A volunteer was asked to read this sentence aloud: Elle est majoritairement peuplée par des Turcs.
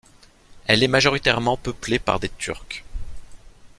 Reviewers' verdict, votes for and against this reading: accepted, 3, 0